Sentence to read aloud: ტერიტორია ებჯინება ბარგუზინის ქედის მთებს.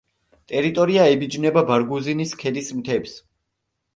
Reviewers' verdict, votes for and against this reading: rejected, 1, 2